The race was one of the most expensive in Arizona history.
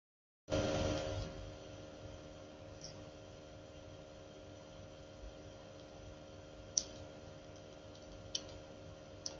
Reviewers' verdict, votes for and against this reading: rejected, 0, 2